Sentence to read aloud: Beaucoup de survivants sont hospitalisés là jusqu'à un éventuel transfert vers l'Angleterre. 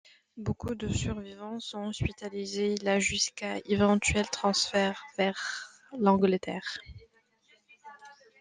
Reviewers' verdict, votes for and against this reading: rejected, 1, 2